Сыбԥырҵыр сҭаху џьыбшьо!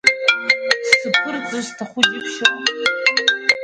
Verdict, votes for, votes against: rejected, 0, 2